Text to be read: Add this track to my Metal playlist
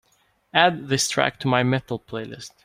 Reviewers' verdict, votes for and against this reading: accepted, 2, 0